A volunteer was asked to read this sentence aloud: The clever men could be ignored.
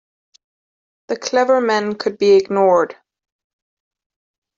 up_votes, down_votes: 1, 2